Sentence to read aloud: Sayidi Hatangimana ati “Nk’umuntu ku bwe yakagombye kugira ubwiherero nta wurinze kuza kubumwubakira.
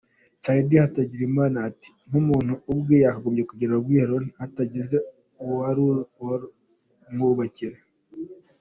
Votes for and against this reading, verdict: 1, 2, rejected